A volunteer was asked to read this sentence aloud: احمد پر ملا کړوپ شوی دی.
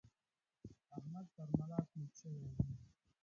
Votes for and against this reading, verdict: 1, 2, rejected